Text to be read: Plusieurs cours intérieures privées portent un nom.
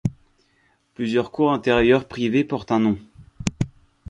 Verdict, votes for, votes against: accepted, 2, 0